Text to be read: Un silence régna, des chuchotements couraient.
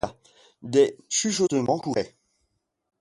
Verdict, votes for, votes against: rejected, 1, 2